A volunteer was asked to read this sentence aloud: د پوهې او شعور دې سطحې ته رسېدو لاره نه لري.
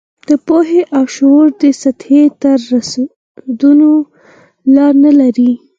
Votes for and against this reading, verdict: 0, 4, rejected